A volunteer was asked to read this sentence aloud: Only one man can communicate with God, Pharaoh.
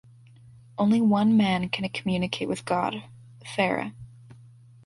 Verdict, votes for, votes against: accepted, 2, 0